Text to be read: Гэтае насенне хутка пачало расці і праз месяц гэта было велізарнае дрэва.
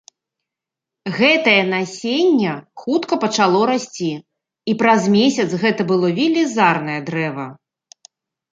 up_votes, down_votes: 2, 0